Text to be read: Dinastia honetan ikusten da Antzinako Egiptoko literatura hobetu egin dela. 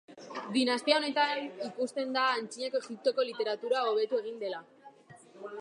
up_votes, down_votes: 1, 2